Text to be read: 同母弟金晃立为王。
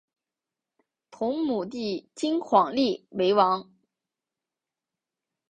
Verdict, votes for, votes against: accepted, 4, 0